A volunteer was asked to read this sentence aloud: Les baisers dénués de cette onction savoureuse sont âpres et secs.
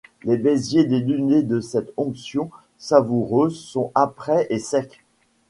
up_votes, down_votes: 1, 2